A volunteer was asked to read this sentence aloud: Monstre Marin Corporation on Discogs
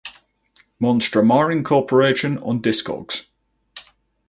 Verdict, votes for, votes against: rejected, 2, 2